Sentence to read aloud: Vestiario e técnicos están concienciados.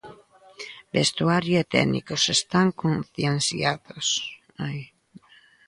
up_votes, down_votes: 0, 2